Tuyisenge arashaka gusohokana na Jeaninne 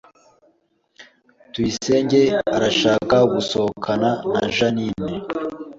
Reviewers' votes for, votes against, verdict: 2, 0, accepted